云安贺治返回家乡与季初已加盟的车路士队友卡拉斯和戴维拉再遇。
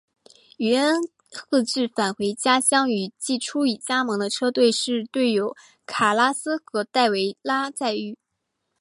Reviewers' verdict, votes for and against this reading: accepted, 2, 1